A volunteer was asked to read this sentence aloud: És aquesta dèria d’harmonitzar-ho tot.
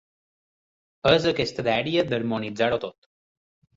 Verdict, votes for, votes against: accepted, 4, 0